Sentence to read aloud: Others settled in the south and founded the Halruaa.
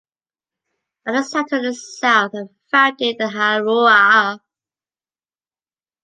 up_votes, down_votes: 2, 1